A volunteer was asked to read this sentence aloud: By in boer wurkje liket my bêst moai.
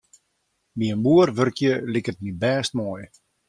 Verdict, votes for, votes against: accepted, 2, 0